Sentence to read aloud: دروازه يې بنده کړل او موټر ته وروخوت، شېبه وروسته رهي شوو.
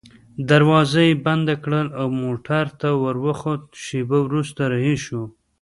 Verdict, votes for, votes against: rejected, 0, 2